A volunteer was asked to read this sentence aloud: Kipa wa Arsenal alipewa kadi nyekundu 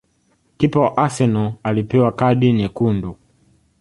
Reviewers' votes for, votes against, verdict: 2, 0, accepted